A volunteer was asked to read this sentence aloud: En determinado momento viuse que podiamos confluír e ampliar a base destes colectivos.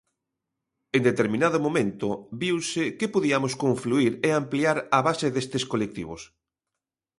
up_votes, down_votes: 2, 0